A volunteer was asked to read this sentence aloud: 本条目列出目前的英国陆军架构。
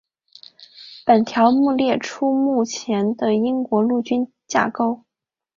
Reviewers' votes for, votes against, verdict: 2, 0, accepted